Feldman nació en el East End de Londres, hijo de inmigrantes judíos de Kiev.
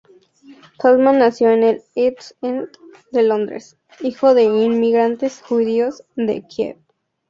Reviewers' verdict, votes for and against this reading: rejected, 0, 2